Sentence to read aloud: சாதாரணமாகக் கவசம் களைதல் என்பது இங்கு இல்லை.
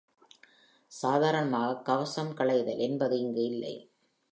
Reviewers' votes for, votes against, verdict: 2, 0, accepted